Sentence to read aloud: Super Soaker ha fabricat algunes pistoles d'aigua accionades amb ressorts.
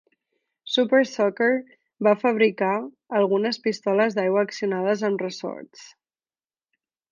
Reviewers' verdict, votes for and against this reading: rejected, 1, 2